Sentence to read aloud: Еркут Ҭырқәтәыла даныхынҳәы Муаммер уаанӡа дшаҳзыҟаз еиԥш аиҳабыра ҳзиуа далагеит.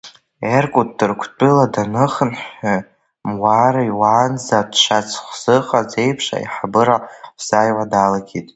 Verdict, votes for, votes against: rejected, 0, 2